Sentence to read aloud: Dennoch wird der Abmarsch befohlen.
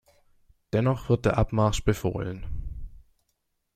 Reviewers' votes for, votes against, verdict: 2, 0, accepted